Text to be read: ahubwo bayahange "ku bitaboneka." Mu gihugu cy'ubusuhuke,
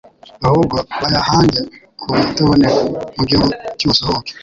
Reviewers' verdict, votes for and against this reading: rejected, 1, 2